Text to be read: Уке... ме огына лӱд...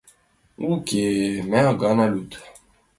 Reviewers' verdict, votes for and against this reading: rejected, 0, 2